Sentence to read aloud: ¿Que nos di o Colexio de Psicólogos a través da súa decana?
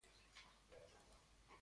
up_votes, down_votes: 0, 2